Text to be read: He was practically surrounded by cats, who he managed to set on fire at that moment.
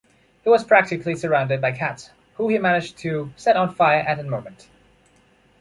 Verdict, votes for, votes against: rejected, 1, 2